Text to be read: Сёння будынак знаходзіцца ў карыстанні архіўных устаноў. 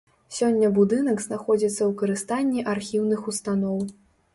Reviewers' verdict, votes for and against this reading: accepted, 3, 0